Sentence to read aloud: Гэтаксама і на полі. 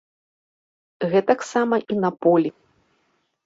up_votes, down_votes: 2, 0